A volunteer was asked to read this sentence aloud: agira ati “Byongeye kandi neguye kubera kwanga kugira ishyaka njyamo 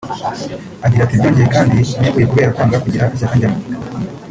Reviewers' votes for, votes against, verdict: 0, 2, rejected